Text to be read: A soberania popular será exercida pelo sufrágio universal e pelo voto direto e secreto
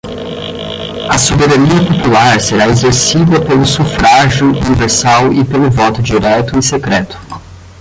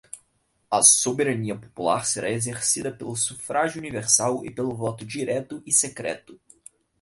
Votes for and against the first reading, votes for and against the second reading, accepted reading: 0, 10, 4, 2, second